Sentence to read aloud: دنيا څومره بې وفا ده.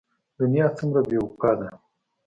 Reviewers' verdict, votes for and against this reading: accepted, 2, 0